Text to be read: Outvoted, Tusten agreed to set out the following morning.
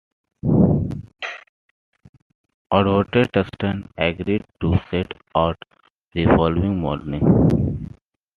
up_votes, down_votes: 3, 2